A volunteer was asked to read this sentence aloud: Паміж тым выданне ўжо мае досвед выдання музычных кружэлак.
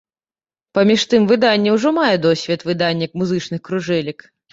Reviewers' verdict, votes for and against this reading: rejected, 1, 2